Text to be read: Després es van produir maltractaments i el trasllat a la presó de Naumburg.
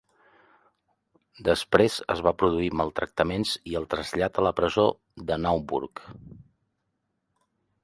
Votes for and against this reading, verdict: 1, 2, rejected